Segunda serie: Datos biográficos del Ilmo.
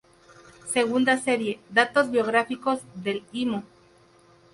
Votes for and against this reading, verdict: 2, 2, rejected